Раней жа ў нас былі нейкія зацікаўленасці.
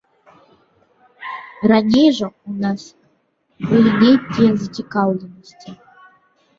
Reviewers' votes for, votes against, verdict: 2, 0, accepted